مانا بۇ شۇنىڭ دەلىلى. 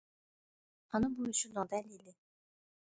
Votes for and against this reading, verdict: 1, 2, rejected